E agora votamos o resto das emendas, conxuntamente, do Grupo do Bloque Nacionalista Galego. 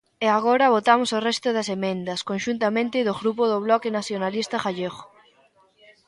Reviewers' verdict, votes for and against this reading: rejected, 0, 2